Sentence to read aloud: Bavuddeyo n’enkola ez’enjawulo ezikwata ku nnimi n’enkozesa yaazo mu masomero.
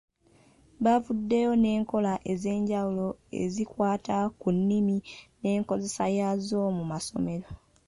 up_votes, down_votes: 3, 1